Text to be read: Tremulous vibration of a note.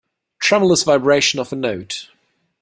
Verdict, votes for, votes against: accepted, 2, 0